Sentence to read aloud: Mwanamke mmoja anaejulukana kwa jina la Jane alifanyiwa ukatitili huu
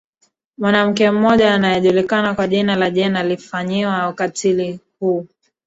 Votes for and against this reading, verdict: 1, 2, rejected